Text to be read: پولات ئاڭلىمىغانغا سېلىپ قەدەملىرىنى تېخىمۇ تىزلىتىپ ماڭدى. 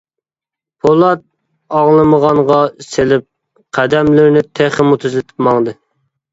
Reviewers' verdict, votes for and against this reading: accepted, 2, 0